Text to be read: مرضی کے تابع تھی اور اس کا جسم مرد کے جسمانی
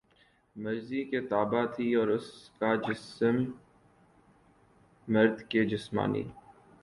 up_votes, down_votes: 0, 2